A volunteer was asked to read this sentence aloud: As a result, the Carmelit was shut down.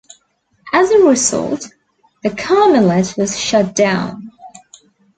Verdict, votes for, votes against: accepted, 2, 0